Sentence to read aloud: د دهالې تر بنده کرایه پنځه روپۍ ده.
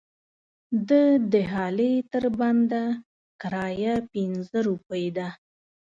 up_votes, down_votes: 2, 0